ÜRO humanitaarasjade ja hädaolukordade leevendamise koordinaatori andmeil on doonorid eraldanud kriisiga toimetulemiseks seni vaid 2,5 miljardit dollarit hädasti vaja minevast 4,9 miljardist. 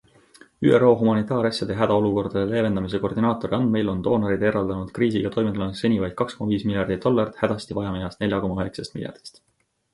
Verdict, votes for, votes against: rejected, 0, 2